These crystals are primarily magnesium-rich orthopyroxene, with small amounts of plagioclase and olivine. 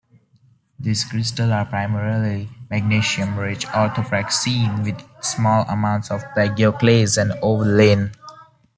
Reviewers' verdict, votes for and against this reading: rejected, 0, 2